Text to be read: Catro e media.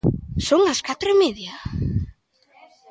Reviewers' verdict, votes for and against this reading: rejected, 0, 2